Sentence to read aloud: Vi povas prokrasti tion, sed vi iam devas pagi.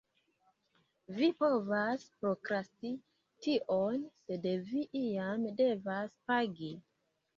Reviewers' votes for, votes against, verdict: 2, 0, accepted